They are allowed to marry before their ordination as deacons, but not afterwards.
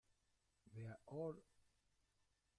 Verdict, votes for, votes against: rejected, 0, 2